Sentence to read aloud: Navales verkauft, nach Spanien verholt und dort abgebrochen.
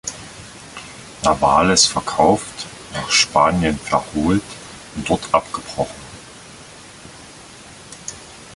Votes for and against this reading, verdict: 1, 2, rejected